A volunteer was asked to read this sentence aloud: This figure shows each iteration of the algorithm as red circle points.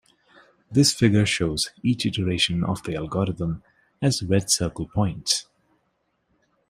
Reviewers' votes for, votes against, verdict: 2, 0, accepted